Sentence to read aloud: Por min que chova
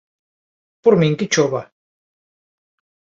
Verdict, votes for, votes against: accepted, 2, 0